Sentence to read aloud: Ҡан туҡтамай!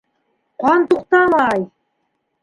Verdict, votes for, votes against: rejected, 1, 2